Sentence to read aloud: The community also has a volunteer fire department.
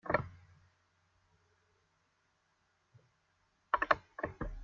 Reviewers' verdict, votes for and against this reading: rejected, 0, 2